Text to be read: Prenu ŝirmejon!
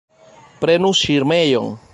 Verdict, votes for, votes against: rejected, 0, 2